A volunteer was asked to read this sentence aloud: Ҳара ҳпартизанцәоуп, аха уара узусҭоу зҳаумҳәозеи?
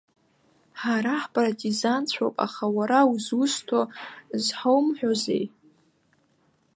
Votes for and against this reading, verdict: 2, 1, accepted